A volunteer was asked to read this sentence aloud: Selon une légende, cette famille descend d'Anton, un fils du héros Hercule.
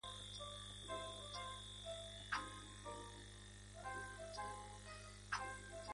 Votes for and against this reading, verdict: 0, 2, rejected